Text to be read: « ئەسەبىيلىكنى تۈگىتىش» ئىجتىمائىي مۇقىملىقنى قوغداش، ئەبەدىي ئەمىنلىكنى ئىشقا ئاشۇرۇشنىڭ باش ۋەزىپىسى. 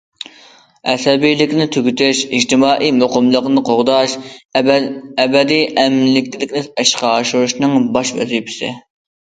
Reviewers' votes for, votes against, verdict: 1, 2, rejected